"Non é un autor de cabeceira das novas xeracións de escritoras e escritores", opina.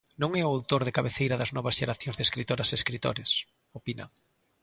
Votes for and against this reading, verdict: 1, 2, rejected